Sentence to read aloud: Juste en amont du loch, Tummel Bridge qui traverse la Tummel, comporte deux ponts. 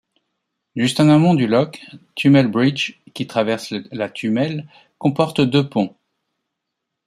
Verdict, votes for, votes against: rejected, 0, 2